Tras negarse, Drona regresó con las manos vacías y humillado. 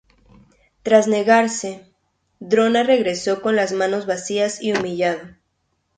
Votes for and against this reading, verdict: 0, 2, rejected